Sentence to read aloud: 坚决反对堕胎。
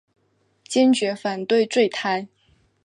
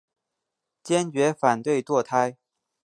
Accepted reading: second